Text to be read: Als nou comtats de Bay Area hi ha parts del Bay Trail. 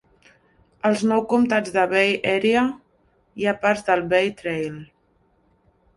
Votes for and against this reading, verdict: 3, 1, accepted